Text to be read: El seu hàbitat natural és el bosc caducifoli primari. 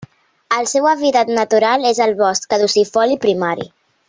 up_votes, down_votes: 2, 0